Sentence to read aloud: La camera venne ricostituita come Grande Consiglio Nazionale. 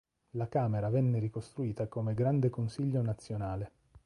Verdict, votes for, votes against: rejected, 1, 3